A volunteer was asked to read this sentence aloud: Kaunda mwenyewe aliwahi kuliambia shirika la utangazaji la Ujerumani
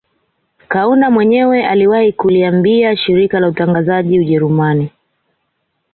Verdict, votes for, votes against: accepted, 2, 1